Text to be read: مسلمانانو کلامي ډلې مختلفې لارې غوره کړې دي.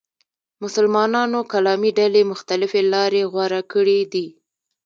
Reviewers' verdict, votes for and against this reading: rejected, 0, 2